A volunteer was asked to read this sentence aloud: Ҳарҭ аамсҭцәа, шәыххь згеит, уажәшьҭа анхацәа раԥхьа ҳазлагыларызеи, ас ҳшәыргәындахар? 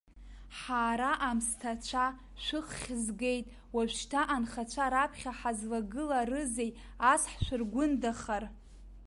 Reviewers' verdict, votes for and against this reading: rejected, 1, 2